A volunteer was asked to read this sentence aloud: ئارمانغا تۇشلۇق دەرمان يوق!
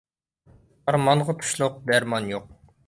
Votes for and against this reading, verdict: 2, 0, accepted